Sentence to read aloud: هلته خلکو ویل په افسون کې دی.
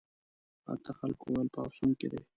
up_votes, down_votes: 1, 2